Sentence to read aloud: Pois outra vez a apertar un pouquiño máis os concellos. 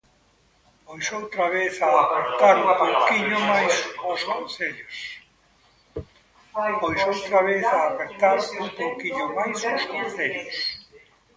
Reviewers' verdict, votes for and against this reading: rejected, 0, 2